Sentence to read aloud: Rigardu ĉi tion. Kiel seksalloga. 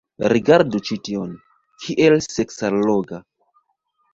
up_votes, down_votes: 3, 1